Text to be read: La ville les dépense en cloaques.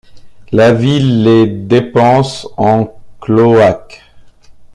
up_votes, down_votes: 1, 2